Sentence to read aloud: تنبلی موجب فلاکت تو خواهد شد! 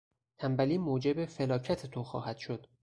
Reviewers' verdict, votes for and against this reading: rejected, 2, 2